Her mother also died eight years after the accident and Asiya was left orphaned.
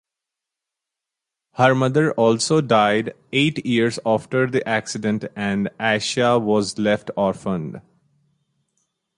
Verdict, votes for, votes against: accepted, 4, 0